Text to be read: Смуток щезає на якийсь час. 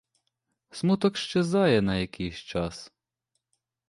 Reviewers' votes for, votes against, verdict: 2, 0, accepted